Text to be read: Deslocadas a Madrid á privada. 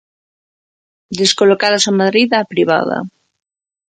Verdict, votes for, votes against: rejected, 1, 2